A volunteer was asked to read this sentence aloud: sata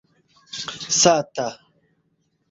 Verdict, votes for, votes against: accepted, 2, 1